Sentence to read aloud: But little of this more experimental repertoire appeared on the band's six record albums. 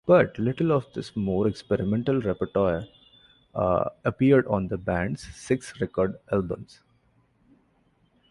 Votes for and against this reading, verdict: 1, 2, rejected